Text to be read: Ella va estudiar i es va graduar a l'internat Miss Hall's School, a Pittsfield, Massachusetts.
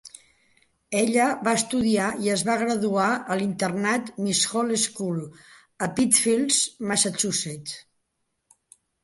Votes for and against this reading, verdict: 2, 1, accepted